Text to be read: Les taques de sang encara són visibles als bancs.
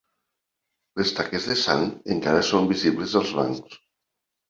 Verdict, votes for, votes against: accepted, 2, 0